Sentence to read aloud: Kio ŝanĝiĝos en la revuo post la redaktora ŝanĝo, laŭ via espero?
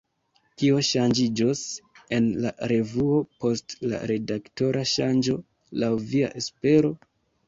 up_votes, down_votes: 2, 0